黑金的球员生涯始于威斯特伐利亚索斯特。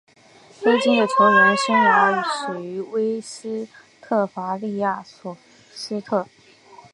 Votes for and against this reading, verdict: 0, 2, rejected